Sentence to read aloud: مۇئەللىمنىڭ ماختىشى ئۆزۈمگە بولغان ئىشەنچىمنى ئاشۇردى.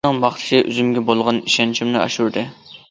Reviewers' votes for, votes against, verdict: 0, 2, rejected